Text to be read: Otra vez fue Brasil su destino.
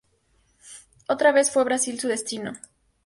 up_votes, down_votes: 4, 0